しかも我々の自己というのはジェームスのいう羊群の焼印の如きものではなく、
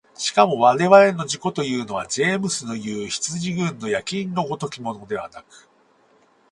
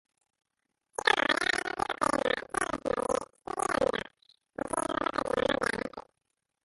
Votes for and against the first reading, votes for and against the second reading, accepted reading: 4, 0, 0, 2, first